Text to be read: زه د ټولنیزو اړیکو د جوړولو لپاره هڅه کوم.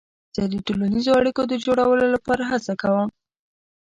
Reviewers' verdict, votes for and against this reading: accepted, 2, 0